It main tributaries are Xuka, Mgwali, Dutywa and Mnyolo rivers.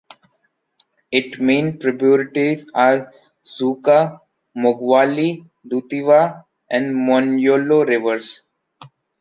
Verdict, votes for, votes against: rejected, 0, 2